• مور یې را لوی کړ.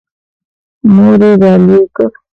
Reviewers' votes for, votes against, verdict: 0, 2, rejected